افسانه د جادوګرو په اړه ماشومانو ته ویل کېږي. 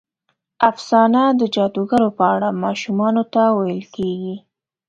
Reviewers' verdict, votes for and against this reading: accepted, 2, 0